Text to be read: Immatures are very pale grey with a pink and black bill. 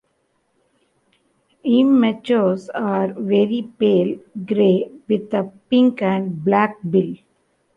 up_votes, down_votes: 2, 1